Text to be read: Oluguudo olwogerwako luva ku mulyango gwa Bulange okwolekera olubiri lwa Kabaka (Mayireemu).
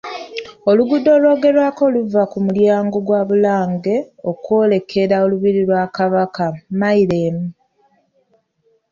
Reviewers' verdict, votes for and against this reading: rejected, 0, 2